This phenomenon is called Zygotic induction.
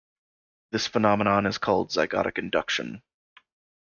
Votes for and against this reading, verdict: 2, 0, accepted